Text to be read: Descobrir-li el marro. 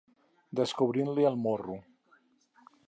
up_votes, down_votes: 2, 4